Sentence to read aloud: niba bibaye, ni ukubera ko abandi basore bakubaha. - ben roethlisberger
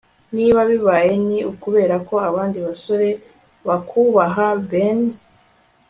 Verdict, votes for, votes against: rejected, 1, 2